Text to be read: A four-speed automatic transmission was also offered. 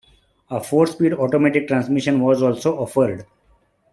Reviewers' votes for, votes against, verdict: 3, 0, accepted